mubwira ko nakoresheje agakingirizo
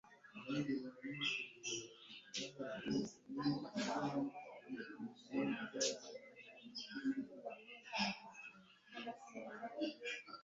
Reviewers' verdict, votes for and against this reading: rejected, 1, 2